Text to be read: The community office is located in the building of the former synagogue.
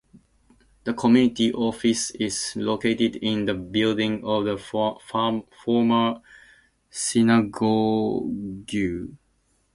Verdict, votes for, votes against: accepted, 2, 0